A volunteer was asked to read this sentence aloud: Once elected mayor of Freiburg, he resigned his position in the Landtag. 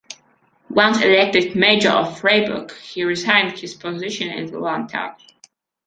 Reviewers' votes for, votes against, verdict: 0, 2, rejected